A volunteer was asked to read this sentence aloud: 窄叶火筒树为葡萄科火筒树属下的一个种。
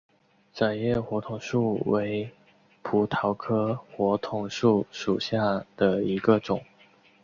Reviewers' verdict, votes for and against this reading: accepted, 2, 0